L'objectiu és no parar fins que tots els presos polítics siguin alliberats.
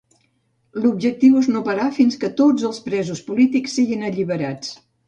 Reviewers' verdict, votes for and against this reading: accepted, 2, 0